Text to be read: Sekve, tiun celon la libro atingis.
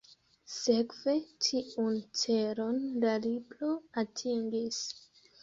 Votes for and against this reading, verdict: 1, 3, rejected